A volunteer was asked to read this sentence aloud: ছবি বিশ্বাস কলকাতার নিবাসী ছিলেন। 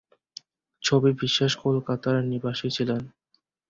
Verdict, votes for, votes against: accepted, 8, 0